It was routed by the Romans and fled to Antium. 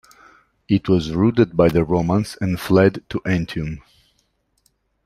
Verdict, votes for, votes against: accepted, 2, 1